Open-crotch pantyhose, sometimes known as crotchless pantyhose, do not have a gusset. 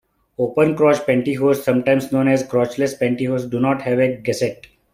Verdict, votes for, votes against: accepted, 2, 0